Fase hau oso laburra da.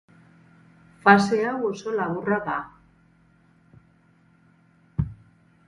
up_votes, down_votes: 4, 0